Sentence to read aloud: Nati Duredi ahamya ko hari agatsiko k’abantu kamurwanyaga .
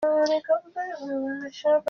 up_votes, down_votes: 0, 2